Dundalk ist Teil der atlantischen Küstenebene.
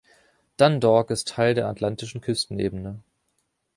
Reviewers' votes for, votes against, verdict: 0, 2, rejected